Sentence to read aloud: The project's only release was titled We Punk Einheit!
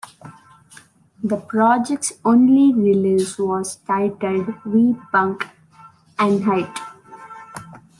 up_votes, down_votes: 2, 0